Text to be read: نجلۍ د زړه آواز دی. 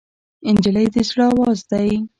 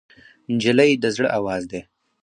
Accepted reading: second